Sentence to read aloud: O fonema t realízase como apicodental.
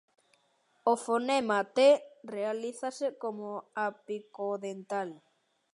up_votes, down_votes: 2, 0